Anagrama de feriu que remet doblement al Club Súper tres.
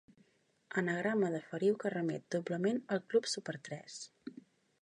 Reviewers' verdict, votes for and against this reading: accepted, 2, 0